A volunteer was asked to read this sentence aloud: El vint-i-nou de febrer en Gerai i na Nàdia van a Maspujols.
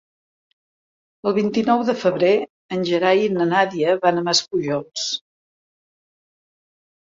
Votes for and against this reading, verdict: 2, 0, accepted